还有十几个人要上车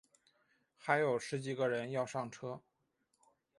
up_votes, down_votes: 3, 1